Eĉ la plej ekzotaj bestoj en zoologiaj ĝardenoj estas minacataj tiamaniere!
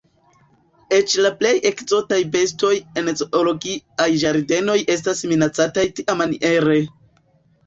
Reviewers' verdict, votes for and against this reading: accepted, 2, 0